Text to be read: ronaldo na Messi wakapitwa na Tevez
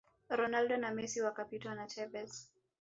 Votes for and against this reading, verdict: 2, 0, accepted